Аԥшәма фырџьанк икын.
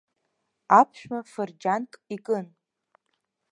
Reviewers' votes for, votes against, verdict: 2, 0, accepted